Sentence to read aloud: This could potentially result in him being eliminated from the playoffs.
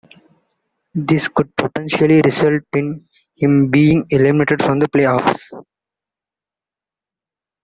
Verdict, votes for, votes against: accepted, 2, 0